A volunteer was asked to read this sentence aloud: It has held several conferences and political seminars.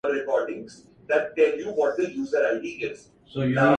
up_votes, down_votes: 0, 2